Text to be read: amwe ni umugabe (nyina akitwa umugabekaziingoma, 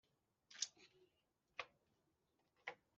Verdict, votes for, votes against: rejected, 0, 2